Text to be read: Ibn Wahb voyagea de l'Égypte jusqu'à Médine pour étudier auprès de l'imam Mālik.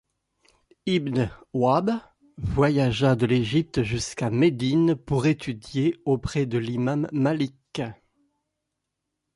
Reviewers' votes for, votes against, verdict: 2, 0, accepted